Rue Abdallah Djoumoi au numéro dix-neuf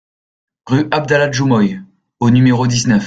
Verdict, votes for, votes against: rejected, 1, 2